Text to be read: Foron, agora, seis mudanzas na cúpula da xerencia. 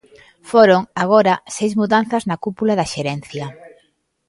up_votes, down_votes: 2, 0